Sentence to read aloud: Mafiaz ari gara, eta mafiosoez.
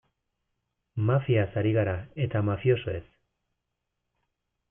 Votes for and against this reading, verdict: 2, 0, accepted